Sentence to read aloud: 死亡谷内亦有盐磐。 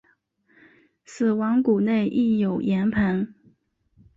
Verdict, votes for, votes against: accepted, 6, 0